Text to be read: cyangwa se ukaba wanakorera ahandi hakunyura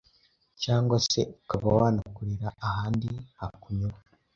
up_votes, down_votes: 2, 0